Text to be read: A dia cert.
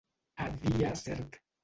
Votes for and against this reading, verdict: 0, 2, rejected